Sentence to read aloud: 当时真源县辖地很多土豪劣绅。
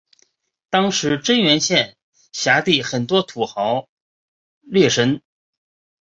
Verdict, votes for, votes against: accepted, 4, 1